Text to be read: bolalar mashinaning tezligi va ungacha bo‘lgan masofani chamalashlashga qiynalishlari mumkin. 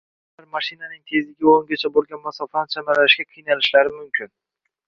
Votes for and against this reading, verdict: 1, 2, rejected